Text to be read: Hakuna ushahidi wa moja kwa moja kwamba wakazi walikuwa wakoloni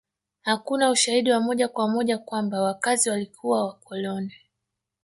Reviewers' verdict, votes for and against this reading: accepted, 4, 0